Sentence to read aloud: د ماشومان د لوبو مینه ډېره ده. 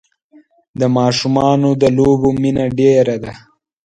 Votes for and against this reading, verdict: 2, 0, accepted